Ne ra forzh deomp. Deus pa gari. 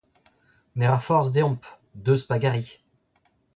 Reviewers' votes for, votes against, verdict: 2, 1, accepted